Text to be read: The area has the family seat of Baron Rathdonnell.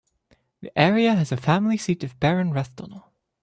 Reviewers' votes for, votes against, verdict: 2, 0, accepted